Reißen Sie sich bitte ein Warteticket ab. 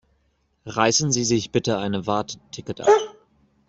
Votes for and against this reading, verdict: 0, 2, rejected